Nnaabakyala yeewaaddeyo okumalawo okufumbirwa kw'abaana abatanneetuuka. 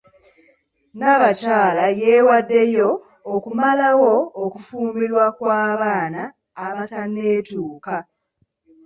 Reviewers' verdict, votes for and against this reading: accepted, 2, 0